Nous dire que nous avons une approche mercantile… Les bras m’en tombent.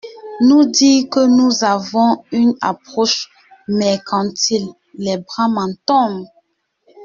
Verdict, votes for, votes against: rejected, 0, 2